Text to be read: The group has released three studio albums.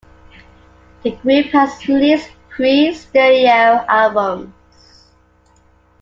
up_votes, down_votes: 2, 1